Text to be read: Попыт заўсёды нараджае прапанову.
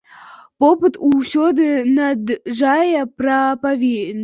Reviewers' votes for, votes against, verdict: 0, 2, rejected